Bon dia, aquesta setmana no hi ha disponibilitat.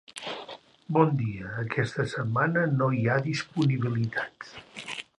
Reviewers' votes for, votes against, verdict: 2, 0, accepted